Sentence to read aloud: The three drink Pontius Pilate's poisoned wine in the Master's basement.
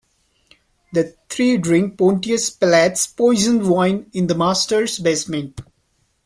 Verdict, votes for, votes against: rejected, 0, 3